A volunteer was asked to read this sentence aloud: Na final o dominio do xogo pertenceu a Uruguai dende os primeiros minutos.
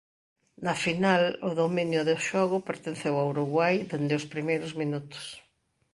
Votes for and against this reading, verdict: 2, 0, accepted